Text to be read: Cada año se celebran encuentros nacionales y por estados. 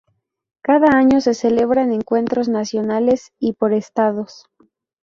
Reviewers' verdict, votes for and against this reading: rejected, 0, 2